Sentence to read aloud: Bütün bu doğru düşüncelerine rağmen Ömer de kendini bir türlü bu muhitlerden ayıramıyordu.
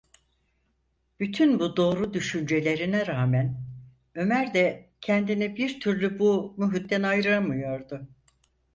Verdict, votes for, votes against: rejected, 0, 4